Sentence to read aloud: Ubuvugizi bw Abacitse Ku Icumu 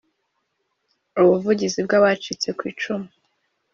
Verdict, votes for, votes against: accepted, 2, 0